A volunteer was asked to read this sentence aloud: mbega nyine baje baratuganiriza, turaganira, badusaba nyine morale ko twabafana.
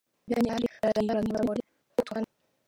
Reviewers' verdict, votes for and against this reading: rejected, 1, 2